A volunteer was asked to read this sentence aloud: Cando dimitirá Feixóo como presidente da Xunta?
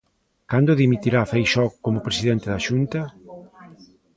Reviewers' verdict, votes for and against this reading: rejected, 1, 2